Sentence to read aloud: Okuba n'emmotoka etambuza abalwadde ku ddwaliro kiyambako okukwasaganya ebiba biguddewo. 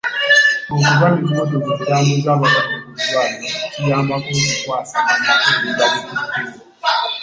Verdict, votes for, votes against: rejected, 0, 2